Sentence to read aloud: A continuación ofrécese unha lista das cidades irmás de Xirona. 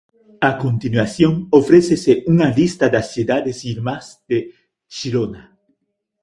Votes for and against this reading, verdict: 2, 0, accepted